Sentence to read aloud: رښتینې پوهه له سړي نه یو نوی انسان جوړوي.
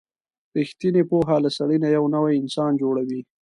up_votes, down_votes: 2, 0